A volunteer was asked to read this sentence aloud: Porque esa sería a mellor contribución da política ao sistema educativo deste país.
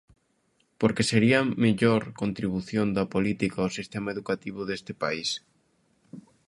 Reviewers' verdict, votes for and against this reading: rejected, 0, 2